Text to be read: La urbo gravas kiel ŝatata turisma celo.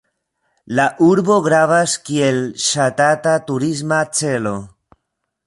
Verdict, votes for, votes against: rejected, 0, 2